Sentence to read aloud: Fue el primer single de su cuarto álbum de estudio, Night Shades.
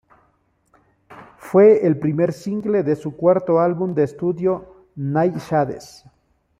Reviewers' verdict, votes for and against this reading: rejected, 0, 2